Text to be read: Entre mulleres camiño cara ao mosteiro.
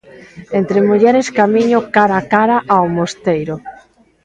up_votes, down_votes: 0, 2